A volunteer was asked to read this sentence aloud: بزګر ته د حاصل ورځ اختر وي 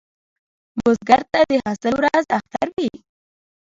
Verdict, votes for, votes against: accepted, 2, 1